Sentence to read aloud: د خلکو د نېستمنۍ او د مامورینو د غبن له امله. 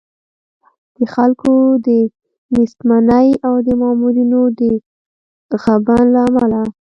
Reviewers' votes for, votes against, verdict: 0, 2, rejected